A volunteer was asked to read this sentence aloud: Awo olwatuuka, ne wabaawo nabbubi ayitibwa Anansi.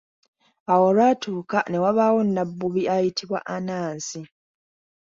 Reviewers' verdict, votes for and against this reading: accepted, 2, 0